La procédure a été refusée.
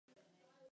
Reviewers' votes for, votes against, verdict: 0, 2, rejected